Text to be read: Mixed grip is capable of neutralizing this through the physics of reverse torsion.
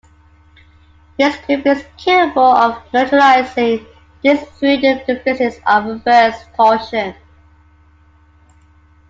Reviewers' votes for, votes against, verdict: 1, 2, rejected